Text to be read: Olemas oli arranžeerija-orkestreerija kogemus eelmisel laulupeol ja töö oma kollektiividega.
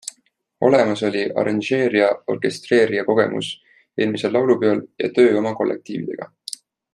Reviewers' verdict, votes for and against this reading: accepted, 2, 0